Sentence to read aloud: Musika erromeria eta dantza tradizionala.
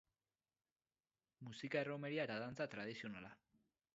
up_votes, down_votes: 4, 2